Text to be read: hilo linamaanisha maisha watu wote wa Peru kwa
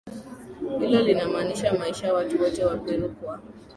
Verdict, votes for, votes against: accepted, 2, 0